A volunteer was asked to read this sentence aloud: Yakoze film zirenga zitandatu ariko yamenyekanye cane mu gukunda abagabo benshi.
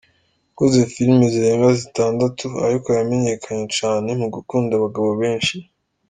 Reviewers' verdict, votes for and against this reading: accepted, 2, 0